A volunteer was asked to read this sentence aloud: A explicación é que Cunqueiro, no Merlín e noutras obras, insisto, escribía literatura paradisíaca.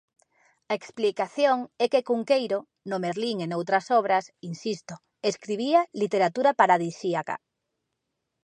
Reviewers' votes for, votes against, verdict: 3, 0, accepted